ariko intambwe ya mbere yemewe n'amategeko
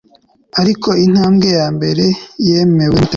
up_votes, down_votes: 0, 2